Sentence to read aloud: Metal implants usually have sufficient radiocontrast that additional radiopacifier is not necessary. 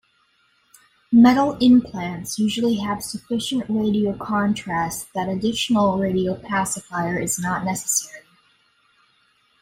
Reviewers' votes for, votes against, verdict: 2, 0, accepted